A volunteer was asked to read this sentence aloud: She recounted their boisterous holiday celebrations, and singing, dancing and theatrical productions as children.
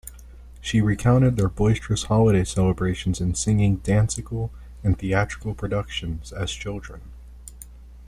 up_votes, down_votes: 1, 2